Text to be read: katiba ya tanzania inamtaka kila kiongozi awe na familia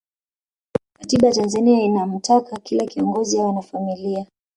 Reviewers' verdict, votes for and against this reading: accepted, 2, 0